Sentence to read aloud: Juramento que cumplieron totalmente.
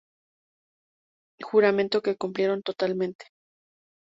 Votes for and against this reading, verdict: 2, 0, accepted